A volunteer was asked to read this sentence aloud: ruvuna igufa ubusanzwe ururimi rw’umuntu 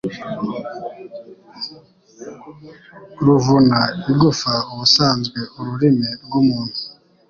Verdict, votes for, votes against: accepted, 3, 0